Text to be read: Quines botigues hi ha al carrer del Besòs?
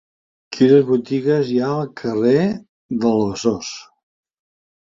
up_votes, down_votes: 2, 0